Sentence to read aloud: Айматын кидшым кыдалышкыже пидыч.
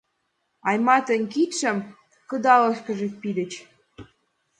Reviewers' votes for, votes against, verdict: 3, 0, accepted